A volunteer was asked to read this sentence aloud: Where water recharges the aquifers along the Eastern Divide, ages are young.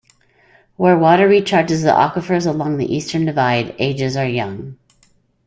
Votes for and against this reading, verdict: 2, 0, accepted